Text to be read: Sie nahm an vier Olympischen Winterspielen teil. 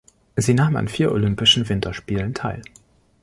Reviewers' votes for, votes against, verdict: 2, 0, accepted